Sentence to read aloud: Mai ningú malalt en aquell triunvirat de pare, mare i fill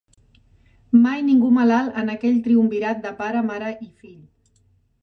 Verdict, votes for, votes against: accepted, 2, 0